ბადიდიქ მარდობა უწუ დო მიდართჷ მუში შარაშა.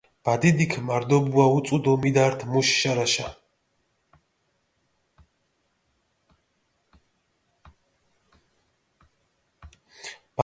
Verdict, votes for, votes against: rejected, 1, 2